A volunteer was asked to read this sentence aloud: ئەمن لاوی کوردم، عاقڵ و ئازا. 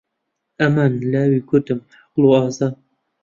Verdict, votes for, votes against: rejected, 1, 2